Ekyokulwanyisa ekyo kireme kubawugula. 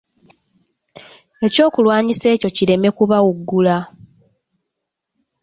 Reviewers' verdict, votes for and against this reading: accepted, 2, 1